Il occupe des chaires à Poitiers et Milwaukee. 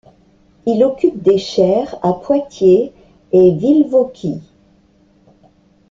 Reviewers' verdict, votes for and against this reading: rejected, 0, 2